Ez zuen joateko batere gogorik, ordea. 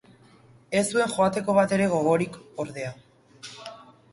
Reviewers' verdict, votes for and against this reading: accepted, 5, 0